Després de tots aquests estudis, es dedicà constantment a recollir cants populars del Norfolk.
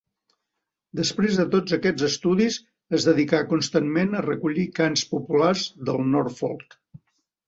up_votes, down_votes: 2, 0